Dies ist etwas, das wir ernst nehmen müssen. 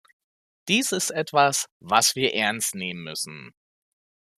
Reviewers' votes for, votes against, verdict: 0, 2, rejected